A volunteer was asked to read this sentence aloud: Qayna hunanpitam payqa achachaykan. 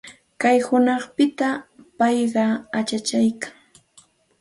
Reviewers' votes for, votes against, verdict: 2, 0, accepted